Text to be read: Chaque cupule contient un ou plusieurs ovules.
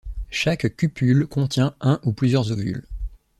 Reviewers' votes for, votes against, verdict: 2, 0, accepted